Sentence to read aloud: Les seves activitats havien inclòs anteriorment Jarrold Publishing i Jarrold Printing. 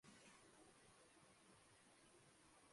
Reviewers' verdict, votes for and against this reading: rejected, 0, 2